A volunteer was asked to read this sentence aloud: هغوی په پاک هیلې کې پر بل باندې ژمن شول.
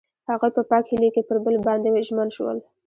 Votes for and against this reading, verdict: 2, 0, accepted